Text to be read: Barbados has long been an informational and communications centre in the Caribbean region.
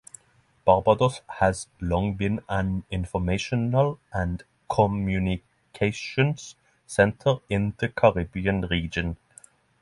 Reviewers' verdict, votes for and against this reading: accepted, 6, 0